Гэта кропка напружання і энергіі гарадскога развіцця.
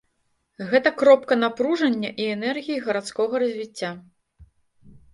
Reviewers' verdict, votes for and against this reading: accepted, 2, 0